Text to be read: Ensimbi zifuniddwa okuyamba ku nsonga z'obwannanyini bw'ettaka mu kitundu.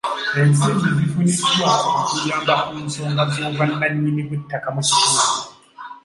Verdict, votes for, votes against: rejected, 0, 2